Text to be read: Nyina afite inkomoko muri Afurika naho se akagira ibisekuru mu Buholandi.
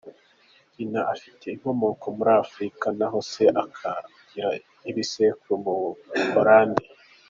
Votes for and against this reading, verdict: 2, 1, accepted